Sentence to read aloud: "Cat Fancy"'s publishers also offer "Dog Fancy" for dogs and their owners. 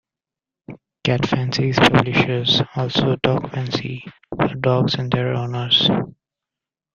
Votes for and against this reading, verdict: 0, 2, rejected